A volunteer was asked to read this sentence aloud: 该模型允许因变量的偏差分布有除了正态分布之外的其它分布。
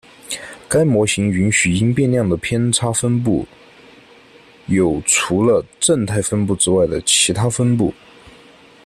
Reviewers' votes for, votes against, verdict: 0, 2, rejected